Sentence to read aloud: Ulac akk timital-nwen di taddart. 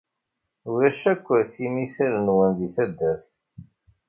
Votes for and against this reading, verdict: 2, 0, accepted